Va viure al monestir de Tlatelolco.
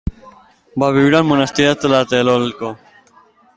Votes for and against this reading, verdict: 2, 1, accepted